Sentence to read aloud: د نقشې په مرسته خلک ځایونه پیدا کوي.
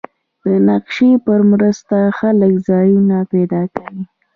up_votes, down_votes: 1, 2